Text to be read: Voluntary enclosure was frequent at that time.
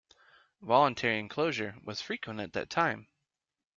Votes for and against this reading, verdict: 2, 0, accepted